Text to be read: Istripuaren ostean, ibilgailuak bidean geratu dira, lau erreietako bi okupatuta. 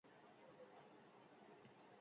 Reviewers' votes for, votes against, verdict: 0, 4, rejected